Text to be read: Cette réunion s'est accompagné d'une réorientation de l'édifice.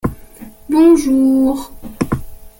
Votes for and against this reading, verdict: 0, 2, rejected